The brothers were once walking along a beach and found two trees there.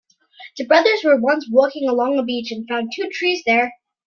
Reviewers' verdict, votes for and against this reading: accepted, 2, 0